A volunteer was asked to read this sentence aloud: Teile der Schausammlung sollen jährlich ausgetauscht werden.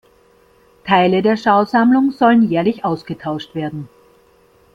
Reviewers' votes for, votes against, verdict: 2, 0, accepted